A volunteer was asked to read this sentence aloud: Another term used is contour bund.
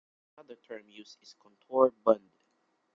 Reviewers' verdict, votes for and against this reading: rejected, 0, 2